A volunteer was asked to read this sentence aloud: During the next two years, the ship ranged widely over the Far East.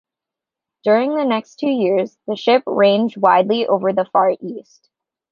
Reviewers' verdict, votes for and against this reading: accepted, 2, 0